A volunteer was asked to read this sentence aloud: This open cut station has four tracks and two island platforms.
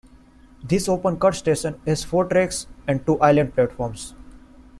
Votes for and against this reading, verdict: 2, 0, accepted